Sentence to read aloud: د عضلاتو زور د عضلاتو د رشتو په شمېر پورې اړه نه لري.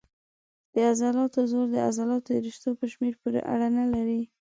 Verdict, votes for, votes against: accepted, 2, 0